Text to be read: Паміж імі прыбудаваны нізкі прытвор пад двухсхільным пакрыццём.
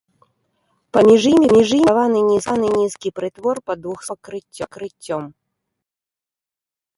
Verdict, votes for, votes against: rejected, 0, 2